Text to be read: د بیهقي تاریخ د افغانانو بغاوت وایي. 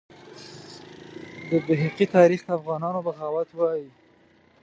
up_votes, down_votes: 0, 2